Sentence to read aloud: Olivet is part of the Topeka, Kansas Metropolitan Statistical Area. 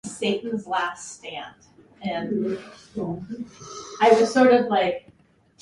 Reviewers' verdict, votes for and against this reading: rejected, 0, 4